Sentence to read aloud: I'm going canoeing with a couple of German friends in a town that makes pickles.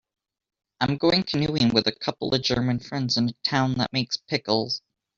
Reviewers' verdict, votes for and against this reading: accepted, 2, 0